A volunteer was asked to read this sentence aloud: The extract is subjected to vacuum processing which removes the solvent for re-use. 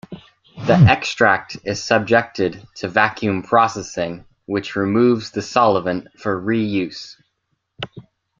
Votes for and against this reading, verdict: 0, 2, rejected